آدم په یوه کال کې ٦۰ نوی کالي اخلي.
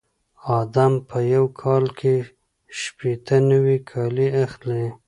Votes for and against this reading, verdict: 0, 2, rejected